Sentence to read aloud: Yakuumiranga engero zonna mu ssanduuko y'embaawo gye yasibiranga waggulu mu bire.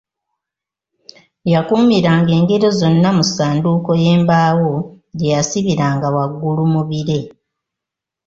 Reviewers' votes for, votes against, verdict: 2, 0, accepted